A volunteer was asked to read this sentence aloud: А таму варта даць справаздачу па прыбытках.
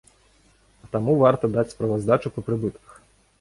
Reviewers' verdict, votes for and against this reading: accepted, 2, 0